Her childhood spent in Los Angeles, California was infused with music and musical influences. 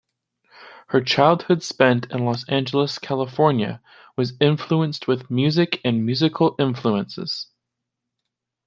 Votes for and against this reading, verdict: 1, 2, rejected